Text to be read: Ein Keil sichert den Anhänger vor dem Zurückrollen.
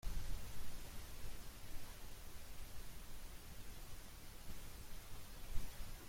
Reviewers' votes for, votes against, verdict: 0, 2, rejected